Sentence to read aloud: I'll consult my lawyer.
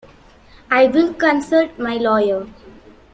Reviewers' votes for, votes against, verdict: 0, 2, rejected